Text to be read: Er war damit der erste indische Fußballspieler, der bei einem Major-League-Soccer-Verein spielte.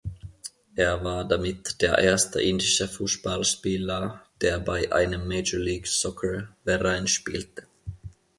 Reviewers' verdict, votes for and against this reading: accepted, 2, 0